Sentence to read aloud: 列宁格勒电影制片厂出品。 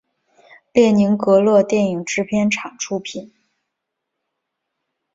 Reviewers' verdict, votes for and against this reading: accepted, 2, 0